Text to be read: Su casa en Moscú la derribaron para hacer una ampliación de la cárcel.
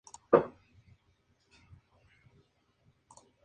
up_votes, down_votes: 0, 2